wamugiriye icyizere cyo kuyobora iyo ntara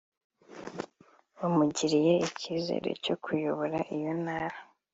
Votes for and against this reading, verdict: 1, 2, rejected